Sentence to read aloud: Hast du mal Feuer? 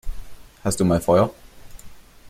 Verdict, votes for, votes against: accepted, 2, 0